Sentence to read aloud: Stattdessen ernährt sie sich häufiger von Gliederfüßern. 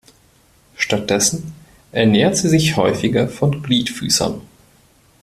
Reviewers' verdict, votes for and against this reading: rejected, 0, 2